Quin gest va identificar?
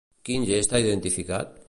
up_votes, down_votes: 1, 2